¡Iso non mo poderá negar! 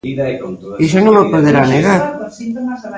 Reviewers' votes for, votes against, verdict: 0, 2, rejected